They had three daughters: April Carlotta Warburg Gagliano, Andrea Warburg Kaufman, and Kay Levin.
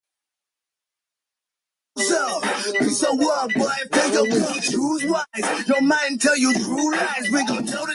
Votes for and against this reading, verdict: 0, 2, rejected